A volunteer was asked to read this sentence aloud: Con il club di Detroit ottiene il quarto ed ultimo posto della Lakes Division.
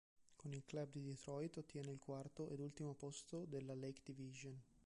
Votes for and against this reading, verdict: 0, 2, rejected